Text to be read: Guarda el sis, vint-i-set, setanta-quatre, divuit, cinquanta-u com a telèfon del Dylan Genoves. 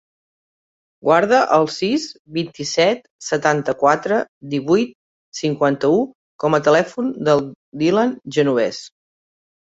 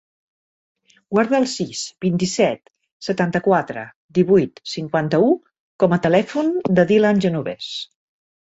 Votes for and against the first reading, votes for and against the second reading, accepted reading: 6, 0, 0, 2, first